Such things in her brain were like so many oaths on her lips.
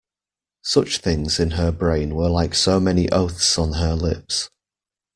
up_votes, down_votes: 2, 0